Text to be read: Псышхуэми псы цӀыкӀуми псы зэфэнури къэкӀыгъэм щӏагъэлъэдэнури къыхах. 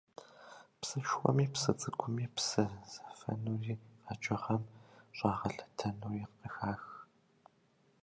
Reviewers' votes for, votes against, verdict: 1, 2, rejected